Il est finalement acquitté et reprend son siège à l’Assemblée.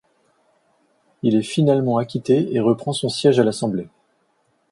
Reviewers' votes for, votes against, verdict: 2, 0, accepted